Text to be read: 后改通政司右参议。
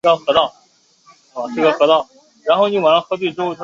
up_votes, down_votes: 0, 2